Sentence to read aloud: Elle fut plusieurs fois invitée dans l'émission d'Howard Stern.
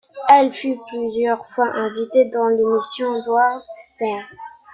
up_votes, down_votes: 0, 2